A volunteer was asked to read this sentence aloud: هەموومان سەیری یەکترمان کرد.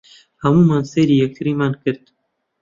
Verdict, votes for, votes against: rejected, 0, 2